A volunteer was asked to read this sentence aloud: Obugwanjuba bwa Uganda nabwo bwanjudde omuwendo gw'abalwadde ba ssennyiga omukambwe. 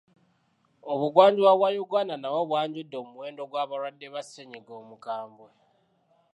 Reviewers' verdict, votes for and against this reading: accepted, 2, 1